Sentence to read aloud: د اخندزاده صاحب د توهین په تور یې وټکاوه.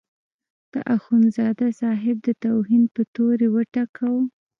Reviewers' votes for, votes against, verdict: 1, 2, rejected